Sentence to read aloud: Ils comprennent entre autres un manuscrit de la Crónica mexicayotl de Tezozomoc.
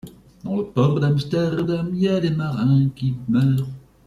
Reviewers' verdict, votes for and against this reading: rejected, 0, 2